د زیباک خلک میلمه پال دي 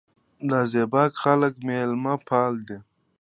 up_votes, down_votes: 1, 2